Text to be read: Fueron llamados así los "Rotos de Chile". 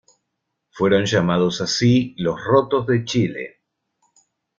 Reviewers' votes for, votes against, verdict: 2, 0, accepted